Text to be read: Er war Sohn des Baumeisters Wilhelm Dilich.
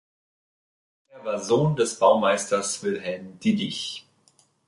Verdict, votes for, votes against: rejected, 0, 2